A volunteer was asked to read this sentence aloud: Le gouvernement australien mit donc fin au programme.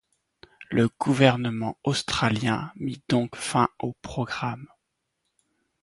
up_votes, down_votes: 2, 0